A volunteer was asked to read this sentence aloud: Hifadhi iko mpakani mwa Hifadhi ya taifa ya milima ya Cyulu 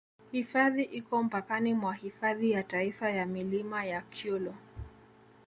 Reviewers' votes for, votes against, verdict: 0, 2, rejected